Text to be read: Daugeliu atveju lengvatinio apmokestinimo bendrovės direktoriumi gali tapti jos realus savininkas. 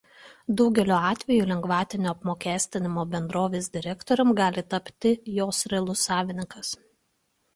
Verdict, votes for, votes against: accepted, 2, 0